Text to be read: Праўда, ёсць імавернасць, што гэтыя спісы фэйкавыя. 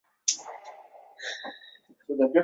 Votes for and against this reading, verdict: 0, 2, rejected